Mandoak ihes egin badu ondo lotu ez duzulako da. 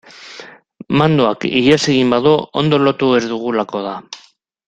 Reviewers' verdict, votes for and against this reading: rejected, 2, 2